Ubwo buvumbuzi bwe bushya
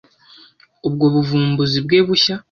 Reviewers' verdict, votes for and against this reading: accepted, 2, 0